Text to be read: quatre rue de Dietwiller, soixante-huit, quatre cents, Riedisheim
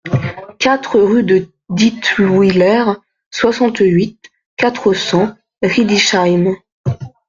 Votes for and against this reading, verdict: 1, 2, rejected